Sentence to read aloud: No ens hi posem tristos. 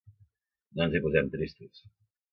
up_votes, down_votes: 1, 2